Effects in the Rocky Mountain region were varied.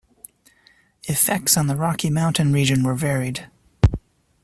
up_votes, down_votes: 0, 2